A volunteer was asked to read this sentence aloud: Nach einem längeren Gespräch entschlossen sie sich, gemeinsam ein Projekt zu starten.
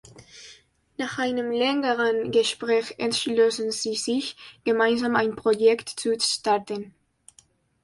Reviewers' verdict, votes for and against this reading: accepted, 2, 0